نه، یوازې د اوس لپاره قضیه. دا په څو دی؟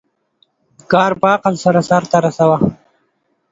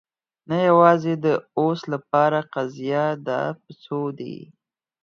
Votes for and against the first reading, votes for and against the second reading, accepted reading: 0, 2, 4, 0, second